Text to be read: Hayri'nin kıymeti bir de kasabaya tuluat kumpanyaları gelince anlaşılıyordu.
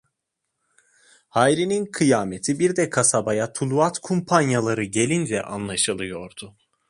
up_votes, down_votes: 1, 2